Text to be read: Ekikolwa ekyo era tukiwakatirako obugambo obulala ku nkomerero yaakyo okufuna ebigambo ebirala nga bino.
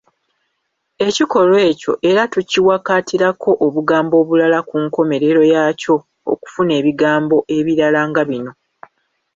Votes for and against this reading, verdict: 2, 0, accepted